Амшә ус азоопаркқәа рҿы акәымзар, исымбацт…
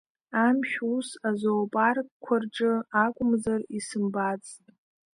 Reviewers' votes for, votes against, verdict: 2, 0, accepted